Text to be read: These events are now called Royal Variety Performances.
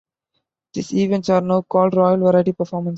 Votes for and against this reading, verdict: 0, 2, rejected